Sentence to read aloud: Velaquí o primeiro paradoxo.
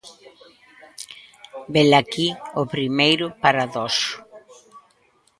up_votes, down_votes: 0, 2